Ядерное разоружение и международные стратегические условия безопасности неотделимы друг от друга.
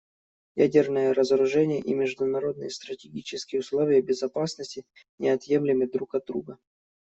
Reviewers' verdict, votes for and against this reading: rejected, 0, 2